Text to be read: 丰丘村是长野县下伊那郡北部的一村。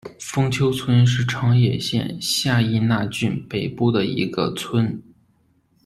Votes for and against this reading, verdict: 1, 2, rejected